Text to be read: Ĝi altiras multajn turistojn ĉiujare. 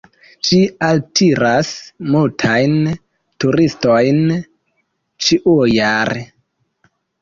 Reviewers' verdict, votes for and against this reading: rejected, 0, 2